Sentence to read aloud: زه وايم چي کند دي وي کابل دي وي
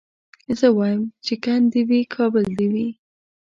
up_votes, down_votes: 2, 0